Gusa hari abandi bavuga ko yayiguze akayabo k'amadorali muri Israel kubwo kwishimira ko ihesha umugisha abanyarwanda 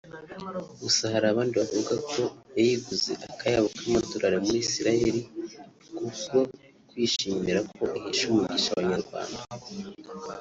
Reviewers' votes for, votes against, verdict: 1, 2, rejected